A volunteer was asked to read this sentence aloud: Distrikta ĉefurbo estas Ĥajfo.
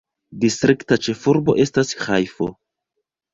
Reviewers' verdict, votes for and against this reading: rejected, 1, 2